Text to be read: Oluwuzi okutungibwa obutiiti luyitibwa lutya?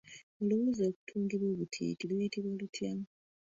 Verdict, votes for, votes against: rejected, 0, 2